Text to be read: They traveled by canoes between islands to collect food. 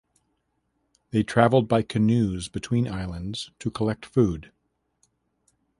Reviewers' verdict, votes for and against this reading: accepted, 2, 0